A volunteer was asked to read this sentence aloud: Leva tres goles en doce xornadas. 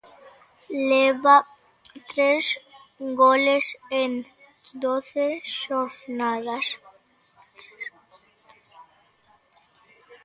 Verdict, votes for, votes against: rejected, 0, 2